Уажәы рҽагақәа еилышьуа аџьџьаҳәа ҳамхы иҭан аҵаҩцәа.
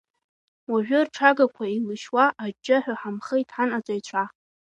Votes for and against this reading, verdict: 2, 0, accepted